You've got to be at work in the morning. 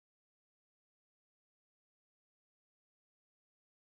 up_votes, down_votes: 0, 2